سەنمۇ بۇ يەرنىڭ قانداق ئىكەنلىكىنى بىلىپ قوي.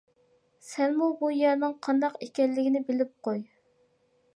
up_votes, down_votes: 2, 0